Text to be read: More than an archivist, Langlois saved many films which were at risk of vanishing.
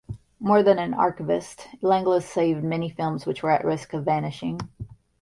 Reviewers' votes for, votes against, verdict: 2, 0, accepted